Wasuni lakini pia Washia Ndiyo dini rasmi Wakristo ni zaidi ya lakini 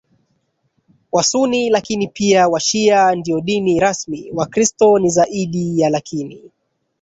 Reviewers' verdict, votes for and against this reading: rejected, 1, 2